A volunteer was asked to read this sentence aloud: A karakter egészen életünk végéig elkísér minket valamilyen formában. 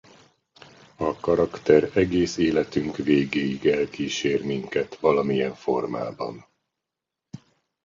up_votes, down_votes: 0, 2